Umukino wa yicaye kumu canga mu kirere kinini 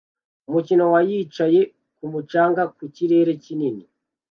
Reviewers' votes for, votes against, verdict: 2, 0, accepted